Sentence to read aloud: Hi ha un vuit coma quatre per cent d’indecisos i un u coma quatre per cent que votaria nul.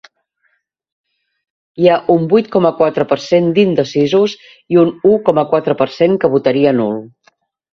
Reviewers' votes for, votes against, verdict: 2, 0, accepted